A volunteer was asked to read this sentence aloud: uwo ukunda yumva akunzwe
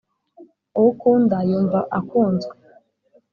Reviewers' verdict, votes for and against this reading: accepted, 2, 0